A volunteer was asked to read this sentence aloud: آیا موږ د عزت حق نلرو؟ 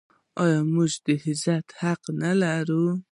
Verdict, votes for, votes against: accepted, 2, 1